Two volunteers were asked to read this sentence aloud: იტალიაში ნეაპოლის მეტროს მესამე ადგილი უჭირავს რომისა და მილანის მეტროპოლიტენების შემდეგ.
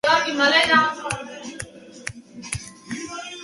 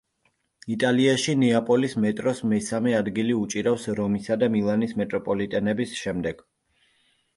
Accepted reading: second